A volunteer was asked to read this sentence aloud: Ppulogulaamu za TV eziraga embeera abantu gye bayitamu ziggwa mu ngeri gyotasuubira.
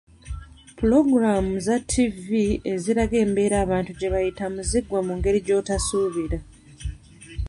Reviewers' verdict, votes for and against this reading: accepted, 2, 0